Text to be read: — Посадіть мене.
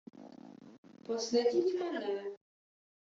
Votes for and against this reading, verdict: 0, 2, rejected